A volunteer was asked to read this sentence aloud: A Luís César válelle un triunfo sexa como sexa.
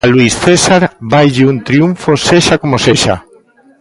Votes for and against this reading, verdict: 1, 2, rejected